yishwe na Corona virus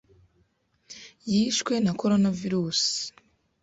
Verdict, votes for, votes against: accepted, 2, 0